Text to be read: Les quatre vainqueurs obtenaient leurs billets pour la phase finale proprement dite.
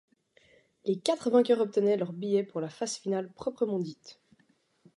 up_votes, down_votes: 2, 0